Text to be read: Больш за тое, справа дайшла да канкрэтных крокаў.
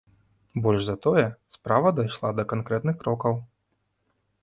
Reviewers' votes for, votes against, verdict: 2, 0, accepted